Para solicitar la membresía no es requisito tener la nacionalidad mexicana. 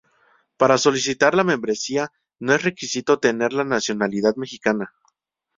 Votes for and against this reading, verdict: 2, 0, accepted